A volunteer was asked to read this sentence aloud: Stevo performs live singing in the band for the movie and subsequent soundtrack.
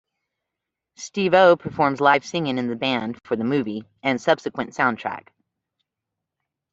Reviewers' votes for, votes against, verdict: 2, 0, accepted